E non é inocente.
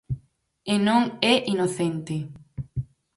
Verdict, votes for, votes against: accepted, 4, 0